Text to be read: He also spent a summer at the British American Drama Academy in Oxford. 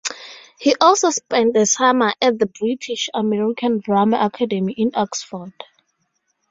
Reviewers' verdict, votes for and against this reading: accepted, 2, 0